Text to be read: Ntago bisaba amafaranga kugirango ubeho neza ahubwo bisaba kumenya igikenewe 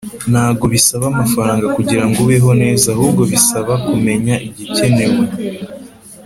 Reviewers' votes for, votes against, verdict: 3, 0, accepted